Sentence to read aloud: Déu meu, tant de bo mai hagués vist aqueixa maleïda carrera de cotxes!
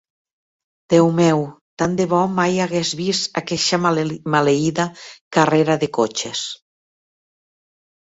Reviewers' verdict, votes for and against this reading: rejected, 1, 2